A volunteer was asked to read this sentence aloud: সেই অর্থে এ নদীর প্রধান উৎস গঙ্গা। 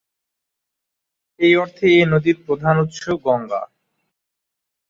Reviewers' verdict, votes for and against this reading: rejected, 1, 2